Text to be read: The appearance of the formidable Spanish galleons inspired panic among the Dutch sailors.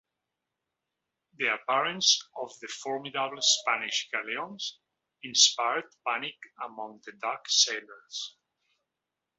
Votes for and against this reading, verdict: 2, 0, accepted